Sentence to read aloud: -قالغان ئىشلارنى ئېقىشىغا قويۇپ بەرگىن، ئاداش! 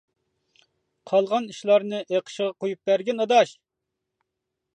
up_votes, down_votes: 2, 0